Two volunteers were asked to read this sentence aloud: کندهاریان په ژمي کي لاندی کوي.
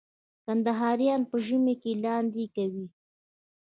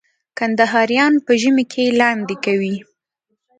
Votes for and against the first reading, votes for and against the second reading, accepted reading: 1, 2, 2, 0, second